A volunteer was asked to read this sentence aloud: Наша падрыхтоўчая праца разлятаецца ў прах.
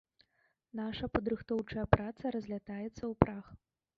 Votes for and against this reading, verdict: 1, 2, rejected